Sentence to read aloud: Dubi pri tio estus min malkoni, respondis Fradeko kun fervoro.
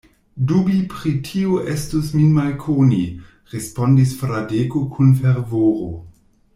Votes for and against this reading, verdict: 1, 2, rejected